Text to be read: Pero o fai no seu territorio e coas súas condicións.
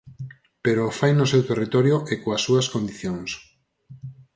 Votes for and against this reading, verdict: 6, 0, accepted